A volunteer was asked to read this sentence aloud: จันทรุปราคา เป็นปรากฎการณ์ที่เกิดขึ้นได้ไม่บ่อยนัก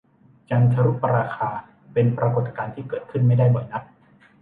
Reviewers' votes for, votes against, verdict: 0, 2, rejected